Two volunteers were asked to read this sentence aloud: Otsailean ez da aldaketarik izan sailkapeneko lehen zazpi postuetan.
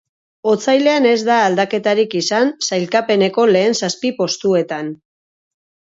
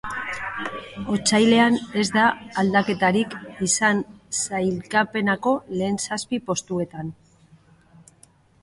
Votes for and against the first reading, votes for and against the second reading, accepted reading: 4, 0, 1, 3, first